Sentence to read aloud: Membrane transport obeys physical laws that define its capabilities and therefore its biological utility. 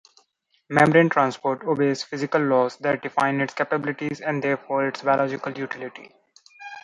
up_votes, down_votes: 2, 0